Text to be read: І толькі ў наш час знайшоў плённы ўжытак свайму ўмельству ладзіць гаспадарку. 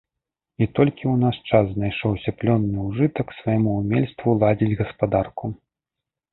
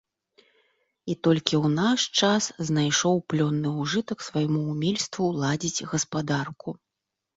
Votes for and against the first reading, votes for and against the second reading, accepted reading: 1, 2, 2, 0, second